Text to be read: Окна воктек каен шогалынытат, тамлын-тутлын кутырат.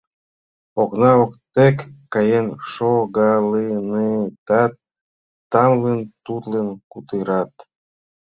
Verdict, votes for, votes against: rejected, 0, 2